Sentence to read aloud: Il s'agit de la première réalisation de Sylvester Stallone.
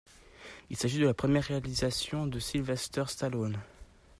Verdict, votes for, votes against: accepted, 2, 0